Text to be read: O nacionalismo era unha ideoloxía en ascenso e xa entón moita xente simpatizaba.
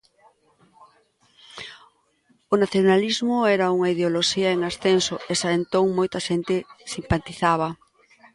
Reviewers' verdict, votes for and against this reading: accepted, 2, 0